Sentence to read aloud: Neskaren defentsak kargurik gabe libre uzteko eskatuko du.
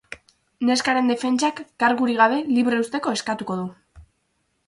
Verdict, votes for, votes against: accepted, 4, 0